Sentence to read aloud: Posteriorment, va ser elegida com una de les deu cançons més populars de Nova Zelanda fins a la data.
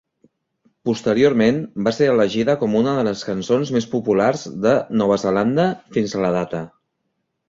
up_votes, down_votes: 0, 2